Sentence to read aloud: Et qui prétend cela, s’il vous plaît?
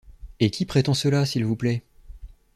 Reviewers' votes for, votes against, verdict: 2, 0, accepted